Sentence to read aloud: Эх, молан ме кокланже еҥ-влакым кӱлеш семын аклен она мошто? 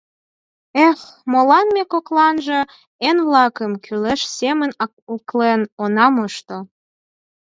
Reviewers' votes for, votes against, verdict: 4, 2, accepted